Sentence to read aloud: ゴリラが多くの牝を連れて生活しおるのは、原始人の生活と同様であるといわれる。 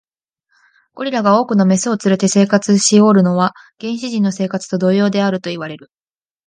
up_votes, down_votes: 2, 0